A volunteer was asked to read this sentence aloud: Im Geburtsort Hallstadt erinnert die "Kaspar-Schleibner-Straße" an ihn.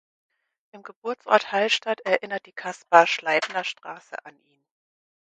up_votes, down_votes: 4, 2